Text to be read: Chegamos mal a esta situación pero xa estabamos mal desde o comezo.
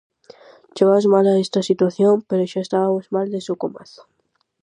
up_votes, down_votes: 0, 4